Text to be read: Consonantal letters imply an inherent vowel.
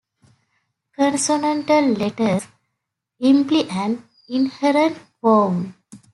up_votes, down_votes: 1, 2